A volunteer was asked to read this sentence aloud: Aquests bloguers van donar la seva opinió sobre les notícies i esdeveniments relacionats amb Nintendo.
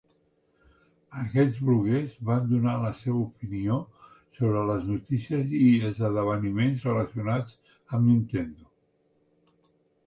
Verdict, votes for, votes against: rejected, 0, 2